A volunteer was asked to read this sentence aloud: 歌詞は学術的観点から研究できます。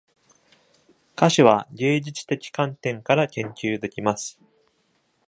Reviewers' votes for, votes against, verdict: 1, 2, rejected